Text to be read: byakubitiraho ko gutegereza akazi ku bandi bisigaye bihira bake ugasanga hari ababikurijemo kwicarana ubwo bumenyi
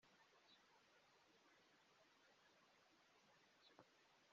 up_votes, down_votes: 0, 3